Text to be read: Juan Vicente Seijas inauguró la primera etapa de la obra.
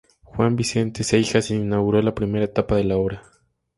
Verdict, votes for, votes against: rejected, 0, 2